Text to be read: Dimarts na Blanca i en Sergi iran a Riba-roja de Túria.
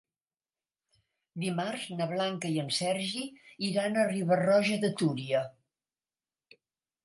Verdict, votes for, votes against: accepted, 3, 0